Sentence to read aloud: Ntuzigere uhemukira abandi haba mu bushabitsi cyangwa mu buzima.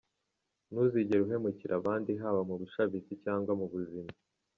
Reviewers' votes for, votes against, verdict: 2, 0, accepted